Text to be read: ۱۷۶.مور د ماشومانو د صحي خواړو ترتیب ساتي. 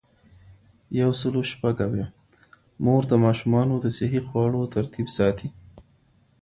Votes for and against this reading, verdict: 0, 2, rejected